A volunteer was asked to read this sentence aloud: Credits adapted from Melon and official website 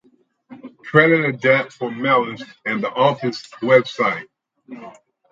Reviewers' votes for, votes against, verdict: 0, 4, rejected